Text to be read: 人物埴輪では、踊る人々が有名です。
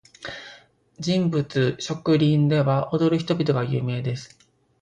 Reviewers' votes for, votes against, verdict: 1, 2, rejected